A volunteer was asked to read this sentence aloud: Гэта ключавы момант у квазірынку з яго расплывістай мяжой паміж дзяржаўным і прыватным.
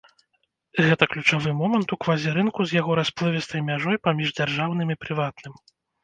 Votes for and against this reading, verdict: 2, 0, accepted